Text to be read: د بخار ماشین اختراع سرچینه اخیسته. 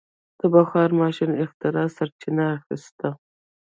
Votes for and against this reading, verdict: 0, 2, rejected